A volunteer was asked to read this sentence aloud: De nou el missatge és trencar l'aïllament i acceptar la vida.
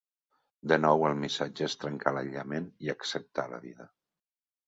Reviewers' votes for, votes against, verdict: 2, 0, accepted